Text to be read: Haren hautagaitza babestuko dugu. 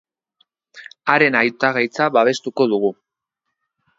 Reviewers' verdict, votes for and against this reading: rejected, 0, 3